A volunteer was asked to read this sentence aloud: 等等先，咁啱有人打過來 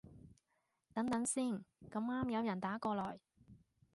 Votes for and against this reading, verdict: 2, 0, accepted